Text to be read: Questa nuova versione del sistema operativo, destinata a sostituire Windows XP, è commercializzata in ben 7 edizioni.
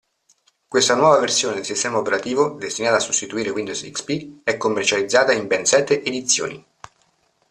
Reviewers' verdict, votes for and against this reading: rejected, 0, 2